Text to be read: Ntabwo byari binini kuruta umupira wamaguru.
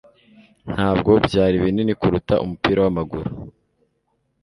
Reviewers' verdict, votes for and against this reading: accepted, 3, 0